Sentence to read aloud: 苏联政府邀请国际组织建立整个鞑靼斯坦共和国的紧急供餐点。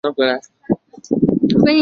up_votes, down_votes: 0, 2